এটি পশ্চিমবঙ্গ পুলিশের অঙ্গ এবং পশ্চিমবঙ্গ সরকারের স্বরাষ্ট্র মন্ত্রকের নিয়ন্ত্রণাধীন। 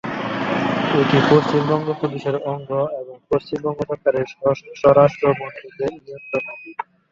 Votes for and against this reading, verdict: 1, 2, rejected